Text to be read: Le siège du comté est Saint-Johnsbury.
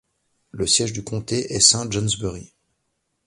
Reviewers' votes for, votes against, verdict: 2, 0, accepted